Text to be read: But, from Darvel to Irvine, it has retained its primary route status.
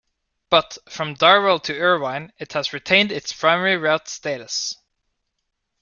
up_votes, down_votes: 2, 0